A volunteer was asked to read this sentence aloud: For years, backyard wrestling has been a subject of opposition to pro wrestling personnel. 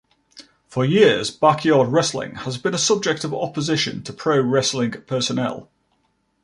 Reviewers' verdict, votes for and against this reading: accepted, 2, 0